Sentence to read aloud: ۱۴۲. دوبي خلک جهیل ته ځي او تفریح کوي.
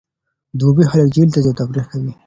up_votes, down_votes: 0, 2